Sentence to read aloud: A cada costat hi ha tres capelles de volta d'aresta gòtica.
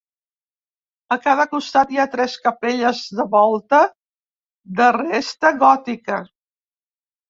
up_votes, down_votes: 0, 2